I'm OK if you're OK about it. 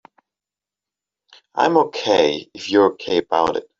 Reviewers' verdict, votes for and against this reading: accepted, 2, 0